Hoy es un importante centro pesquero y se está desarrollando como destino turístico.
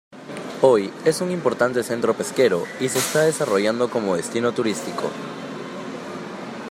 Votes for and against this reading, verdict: 2, 0, accepted